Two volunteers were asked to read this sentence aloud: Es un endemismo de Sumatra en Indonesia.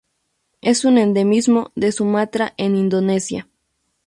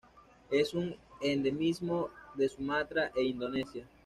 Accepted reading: first